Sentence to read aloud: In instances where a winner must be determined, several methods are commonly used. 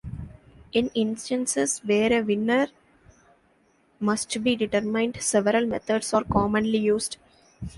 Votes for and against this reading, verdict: 2, 0, accepted